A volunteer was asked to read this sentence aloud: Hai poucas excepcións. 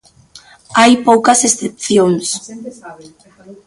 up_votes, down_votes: 0, 2